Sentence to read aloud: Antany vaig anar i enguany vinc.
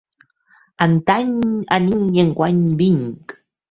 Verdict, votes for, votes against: rejected, 0, 3